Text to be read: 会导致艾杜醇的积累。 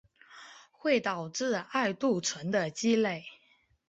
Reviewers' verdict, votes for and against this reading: accepted, 2, 0